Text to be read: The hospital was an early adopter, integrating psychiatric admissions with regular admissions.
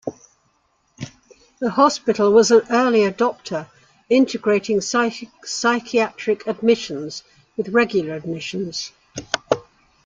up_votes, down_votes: 1, 2